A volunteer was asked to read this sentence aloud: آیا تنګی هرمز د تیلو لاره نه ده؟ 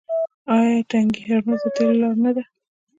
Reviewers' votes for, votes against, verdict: 1, 2, rejected